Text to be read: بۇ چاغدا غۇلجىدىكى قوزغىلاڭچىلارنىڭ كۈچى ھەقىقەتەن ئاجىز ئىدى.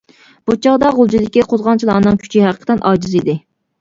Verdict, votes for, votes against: rejected, 1, 2